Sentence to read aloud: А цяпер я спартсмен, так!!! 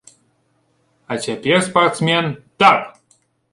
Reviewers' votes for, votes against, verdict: 0, 2, rejected